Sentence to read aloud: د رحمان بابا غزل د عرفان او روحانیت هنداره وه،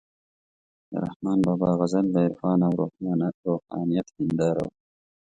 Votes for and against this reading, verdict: 1, 2, rejected